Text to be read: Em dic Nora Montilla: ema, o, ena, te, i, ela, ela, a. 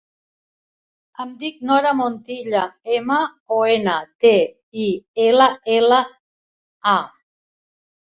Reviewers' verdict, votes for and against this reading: rejected, 1, 2